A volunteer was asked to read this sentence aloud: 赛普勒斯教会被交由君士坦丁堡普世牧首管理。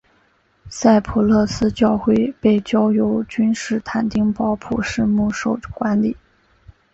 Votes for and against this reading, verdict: 3, 0, accepted